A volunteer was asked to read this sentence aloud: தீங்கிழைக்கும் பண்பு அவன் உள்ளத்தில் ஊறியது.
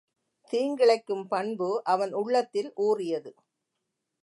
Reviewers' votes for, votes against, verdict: 2, 0, accepted